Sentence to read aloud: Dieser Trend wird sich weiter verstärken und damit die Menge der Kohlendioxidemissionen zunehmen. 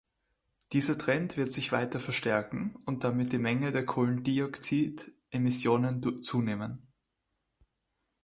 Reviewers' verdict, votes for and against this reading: rejected, 0, 2